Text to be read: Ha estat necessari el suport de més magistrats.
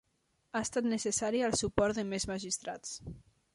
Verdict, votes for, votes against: accepted, 3, 1